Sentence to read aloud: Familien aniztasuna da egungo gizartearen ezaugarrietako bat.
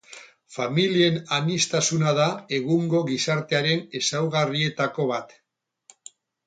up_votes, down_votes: 10, 0